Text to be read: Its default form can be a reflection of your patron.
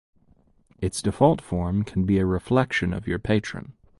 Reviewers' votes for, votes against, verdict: 2, 0, accepted